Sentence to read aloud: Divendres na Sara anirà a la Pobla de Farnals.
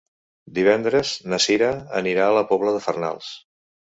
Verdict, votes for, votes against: rejected, 1, 2